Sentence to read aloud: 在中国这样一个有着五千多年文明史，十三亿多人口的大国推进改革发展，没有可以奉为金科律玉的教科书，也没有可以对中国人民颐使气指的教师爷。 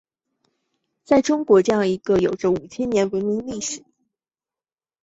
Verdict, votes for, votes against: rejected, 0, 3